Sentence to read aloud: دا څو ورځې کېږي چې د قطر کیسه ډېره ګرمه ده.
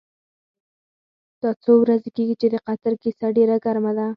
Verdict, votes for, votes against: accepted, 4, 0